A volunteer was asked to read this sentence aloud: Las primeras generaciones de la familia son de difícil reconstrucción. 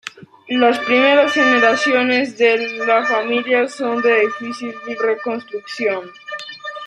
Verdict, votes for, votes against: rejected, 0, 2